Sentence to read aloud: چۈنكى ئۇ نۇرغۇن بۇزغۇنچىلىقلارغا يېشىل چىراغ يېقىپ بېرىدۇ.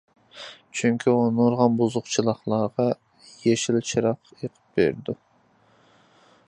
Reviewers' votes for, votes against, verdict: 0, 2, rejected